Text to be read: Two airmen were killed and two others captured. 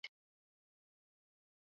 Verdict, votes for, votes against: rejected, 0, 2